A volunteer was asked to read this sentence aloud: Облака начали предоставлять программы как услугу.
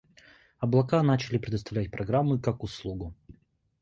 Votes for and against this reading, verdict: 2, 0, accepted